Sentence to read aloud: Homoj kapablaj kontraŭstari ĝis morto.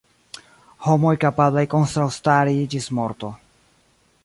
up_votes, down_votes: 0, 2